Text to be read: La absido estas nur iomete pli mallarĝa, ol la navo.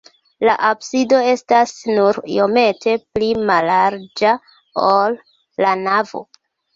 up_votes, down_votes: 2, 0